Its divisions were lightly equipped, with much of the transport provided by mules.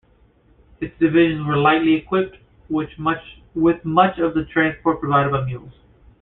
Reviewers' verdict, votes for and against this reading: rejected, 0, 2